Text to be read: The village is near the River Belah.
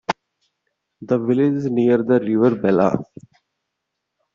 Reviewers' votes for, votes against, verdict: 2, 0, accepted